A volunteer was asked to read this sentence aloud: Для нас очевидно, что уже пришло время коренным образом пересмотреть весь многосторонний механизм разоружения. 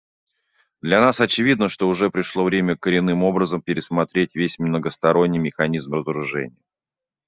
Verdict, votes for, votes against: accepted, 2, 1